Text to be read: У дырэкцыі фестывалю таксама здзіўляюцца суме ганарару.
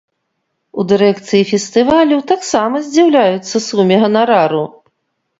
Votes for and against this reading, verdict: 2, 0, accepted